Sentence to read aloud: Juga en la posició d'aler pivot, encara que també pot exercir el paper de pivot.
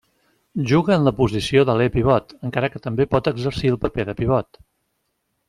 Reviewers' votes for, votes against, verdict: 2, 0, accepted